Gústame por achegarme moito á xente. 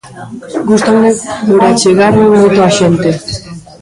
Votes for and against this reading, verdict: 0, 2, rejected